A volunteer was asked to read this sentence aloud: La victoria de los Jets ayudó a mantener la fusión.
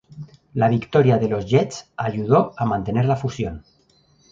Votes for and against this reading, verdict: 2, 0, accepted